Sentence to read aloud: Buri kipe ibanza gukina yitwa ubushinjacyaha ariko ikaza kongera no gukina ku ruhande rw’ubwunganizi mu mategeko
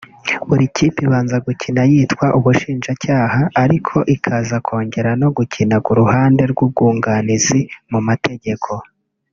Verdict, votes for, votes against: accepted, 2, 0